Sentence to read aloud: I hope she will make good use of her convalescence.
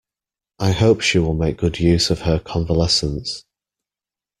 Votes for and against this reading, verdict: 2, 0, accepted